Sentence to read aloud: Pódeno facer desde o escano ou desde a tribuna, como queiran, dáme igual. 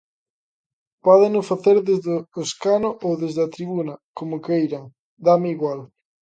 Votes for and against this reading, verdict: 2, 0, accepted